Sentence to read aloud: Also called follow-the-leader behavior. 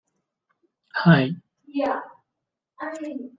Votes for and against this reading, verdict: 0, 2, rejected